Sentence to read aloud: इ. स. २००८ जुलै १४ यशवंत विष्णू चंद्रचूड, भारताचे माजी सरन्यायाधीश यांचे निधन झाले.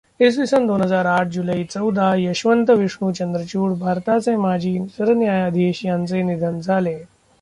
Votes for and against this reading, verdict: 0, 2, rejected